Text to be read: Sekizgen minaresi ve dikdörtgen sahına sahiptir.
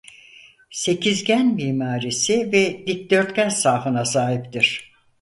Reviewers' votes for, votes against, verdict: 2, 4, rejected